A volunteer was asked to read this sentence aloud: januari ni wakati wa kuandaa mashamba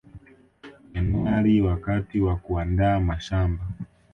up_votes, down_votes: 1, 2